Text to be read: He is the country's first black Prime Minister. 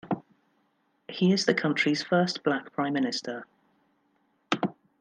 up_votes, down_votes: 0, 2